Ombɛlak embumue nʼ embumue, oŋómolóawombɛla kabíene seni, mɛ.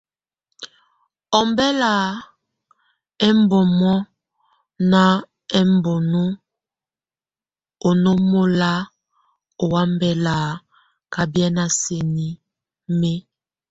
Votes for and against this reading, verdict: 1, 2, rejected